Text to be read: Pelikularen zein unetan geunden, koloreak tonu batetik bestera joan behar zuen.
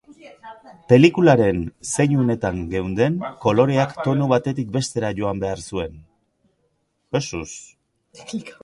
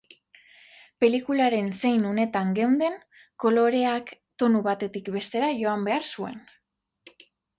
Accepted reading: second